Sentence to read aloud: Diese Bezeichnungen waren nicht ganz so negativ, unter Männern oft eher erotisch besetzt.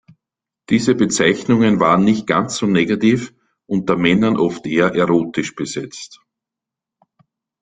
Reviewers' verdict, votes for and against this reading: accepted, 2, 0